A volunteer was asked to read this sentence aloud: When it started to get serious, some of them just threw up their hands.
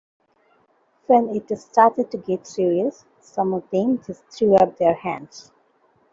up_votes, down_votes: 2, 0